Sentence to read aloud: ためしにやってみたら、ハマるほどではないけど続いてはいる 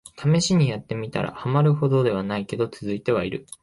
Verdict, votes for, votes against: accepted, 2, 0